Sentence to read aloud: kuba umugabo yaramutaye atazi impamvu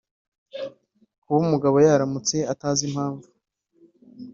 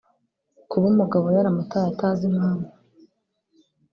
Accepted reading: second